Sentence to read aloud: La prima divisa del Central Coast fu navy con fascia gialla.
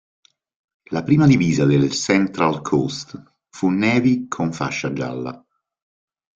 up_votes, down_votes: 2, 0